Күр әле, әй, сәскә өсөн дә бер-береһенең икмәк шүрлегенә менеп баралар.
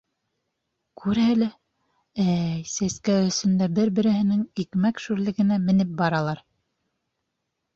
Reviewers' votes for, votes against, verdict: 2, 0, accepted